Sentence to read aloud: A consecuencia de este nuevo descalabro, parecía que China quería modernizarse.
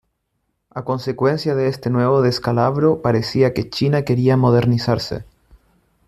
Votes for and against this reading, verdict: 2, 0, accepted